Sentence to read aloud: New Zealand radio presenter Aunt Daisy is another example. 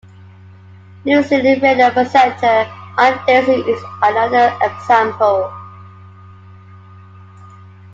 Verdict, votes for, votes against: rejected, 0, 2